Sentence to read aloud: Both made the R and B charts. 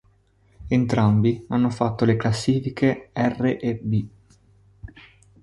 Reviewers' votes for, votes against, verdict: 0, 2, rejected